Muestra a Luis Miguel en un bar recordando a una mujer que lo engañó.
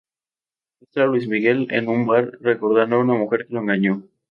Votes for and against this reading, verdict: 0, 2, rejected